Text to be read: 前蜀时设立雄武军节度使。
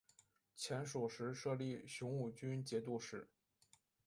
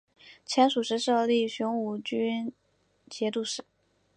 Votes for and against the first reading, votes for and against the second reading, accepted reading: 0, 3, 2, 1, second